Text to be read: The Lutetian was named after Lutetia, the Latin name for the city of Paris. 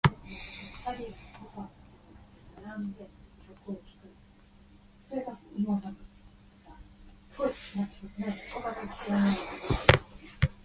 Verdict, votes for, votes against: rejected, 0, 2